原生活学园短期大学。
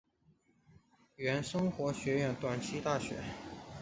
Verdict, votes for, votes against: accepted, 3, 0